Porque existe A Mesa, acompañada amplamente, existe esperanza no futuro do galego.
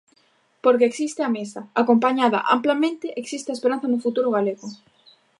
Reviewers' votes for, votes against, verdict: 1, 2, rejected